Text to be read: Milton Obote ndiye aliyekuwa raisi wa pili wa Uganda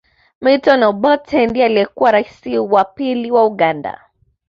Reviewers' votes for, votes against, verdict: 2, 0, accepted